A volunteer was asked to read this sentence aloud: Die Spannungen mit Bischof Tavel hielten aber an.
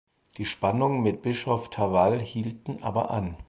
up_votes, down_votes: 4, 0